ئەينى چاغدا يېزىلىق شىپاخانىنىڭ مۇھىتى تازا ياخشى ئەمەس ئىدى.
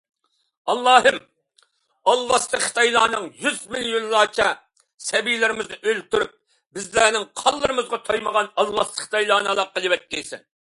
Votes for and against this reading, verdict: 0, 2, rejected